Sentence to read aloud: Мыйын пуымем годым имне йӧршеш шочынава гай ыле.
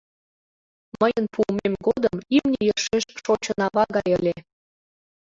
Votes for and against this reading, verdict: 1, 2, rejected